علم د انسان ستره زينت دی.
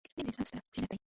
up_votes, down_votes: 0, 2